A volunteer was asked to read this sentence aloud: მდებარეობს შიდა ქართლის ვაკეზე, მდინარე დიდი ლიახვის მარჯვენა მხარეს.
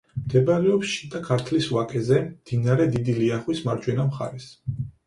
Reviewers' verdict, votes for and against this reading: accepted, 4, 0